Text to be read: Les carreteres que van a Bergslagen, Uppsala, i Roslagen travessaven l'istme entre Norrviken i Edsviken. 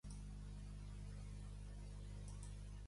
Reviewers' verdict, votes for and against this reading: rejected, 0, 2